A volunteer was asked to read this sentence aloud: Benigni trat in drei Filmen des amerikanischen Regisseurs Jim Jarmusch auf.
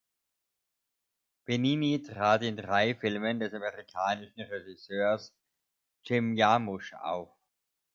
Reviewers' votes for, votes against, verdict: 1, 2, rejected